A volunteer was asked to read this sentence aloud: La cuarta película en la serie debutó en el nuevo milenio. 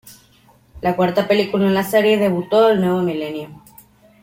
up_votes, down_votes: 0, 2